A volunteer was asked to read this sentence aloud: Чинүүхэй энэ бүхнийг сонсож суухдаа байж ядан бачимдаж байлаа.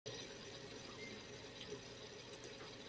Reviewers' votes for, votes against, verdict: 0, 2, rejected